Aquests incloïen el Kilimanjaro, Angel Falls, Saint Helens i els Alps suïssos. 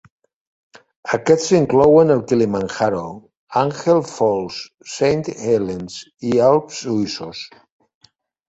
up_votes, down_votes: 0, 2